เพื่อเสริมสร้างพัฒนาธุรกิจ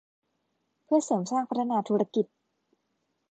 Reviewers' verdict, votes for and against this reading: accepted, 2, 0